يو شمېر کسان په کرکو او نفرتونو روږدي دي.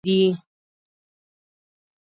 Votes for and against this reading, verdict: 1, 2, rejected